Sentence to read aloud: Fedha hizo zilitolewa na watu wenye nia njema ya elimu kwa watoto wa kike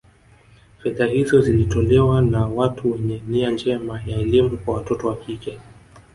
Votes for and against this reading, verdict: 2, 0, accepted